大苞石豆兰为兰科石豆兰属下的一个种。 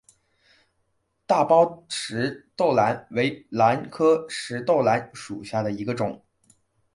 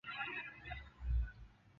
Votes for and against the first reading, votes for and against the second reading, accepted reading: 2, 1, 0, 3, first